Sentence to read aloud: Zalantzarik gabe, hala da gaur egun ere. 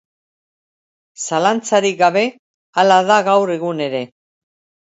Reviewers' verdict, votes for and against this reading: accepted, 2, 0